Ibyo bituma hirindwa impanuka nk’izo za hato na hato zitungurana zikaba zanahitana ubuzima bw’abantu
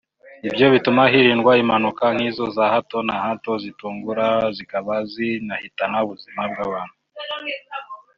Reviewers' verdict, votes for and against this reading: rejected, 1, 2